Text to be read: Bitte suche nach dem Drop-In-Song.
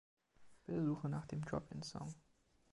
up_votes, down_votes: 3, 2